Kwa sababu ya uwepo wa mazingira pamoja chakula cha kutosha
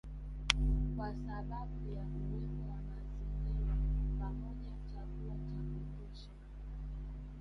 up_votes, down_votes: 0, 3